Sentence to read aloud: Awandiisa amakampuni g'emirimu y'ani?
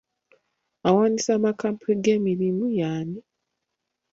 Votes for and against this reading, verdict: 2, 1, accepted